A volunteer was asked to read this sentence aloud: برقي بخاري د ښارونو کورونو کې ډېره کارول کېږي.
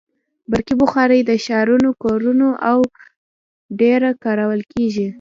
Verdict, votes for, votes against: accepted, 2, 0